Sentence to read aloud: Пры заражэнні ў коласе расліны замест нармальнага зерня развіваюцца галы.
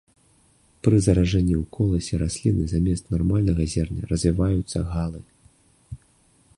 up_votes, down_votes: 2, 0